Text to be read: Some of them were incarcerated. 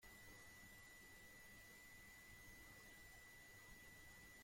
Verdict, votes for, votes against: rejected, 0, 2